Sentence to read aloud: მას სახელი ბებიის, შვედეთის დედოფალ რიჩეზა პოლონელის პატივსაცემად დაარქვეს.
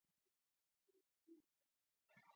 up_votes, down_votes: 0, 2